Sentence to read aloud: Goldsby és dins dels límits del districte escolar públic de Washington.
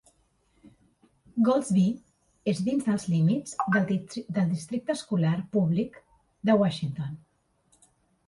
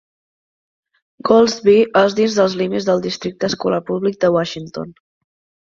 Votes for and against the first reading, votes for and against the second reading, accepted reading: 0, 2, 3, 1, second